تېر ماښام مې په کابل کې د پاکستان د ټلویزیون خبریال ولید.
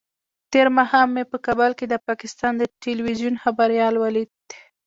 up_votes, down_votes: 1, 2